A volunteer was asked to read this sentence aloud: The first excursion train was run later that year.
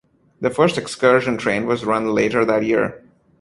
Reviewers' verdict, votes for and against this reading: accepted, 2, 0